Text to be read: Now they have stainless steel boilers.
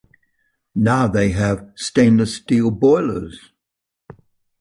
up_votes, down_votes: 2, 0